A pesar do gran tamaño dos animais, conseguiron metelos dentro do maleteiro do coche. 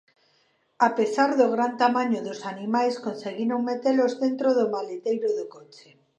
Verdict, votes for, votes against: accepted, 2, 0